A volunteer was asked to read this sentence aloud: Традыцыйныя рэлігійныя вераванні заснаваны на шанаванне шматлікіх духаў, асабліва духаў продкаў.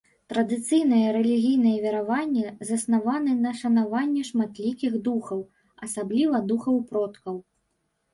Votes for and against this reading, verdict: 0, 2, rejected